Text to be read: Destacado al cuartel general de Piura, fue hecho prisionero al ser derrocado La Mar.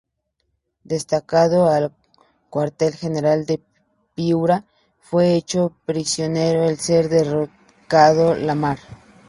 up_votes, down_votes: 0, 2